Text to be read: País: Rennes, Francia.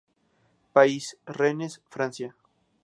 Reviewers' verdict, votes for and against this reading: accepted, 2, 0